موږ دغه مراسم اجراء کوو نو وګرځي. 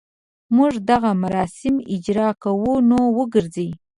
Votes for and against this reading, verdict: 2, 0, accepted